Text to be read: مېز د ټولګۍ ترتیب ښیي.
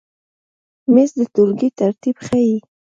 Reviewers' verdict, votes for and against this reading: accepted, 2, 0